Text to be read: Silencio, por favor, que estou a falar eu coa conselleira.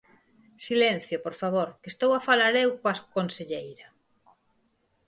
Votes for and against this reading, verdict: 2, 4, rejected